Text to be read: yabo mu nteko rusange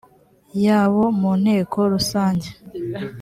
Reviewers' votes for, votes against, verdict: 2, 0, accepted